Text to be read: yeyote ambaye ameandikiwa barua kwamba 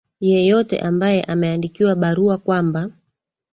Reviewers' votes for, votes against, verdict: 3, 1, accepted